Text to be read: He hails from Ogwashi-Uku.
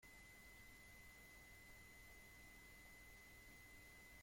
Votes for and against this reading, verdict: 0, 2, rejected